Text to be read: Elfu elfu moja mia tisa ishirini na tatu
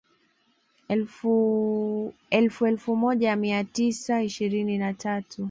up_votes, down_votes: 1, 2